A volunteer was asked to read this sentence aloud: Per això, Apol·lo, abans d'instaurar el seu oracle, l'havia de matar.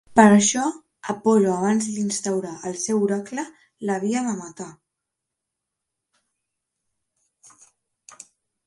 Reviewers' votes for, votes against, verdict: 2, 0, accepted